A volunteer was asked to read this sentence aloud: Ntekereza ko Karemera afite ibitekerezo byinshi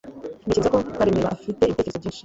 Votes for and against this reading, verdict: 0, 2, rejected